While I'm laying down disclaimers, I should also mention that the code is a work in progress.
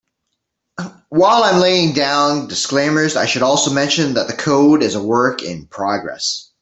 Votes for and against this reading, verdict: 3, 0, accepted